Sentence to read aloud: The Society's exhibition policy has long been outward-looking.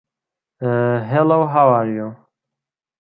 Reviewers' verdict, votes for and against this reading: rejected, 0, 3